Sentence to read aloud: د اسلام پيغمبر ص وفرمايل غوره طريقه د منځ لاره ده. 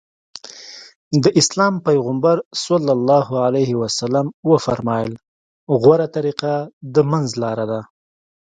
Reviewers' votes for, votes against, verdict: 2, 0, accepted